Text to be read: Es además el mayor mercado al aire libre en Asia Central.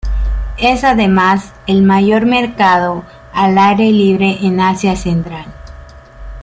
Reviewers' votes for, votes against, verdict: 1, 2, rejected